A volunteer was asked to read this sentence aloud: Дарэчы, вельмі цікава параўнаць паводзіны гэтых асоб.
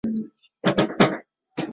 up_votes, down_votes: 0, 2